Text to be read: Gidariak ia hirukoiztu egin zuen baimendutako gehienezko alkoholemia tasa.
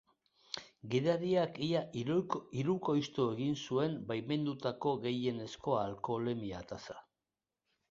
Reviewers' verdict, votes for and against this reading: accepted, 2, 0